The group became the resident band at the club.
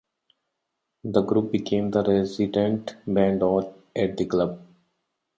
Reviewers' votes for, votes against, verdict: 1, 2, rejected